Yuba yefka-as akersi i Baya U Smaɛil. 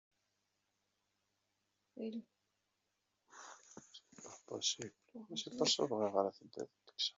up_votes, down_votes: 1, 2